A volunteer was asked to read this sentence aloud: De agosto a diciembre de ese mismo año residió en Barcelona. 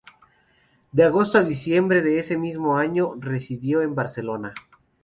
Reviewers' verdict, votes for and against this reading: accepted, 2, 0